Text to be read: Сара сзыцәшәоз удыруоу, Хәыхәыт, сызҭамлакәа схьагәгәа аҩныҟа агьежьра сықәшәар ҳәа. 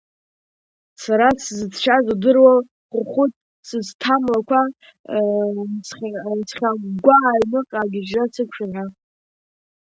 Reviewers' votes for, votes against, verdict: 1, 2, rejected